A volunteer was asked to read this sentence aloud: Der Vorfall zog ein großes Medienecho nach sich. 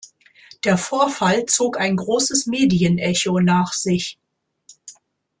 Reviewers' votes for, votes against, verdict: 2, 0, accepted